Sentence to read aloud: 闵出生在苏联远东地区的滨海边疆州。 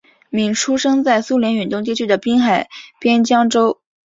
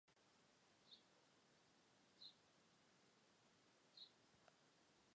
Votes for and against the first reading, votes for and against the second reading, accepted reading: 2, 0, 0, 4, first